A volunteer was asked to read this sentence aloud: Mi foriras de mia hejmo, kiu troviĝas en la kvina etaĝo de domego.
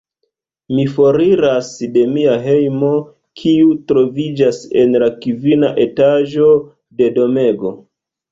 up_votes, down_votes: 1, 2